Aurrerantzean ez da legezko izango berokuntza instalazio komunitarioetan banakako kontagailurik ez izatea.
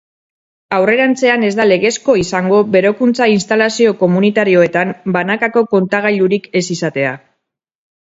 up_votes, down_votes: 2, 2